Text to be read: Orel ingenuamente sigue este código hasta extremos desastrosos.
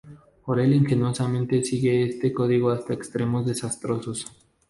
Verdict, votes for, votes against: rejected, 0, 2